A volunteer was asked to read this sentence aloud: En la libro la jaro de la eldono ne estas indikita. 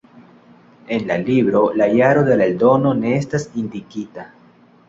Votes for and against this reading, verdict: 2, 0, accepted